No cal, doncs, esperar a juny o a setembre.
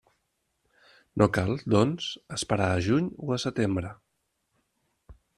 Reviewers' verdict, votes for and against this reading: accepted, 3, 0